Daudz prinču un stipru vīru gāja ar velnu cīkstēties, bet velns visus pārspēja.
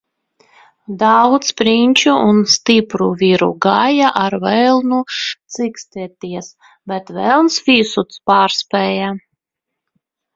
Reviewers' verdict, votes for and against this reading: rejected, 1, 2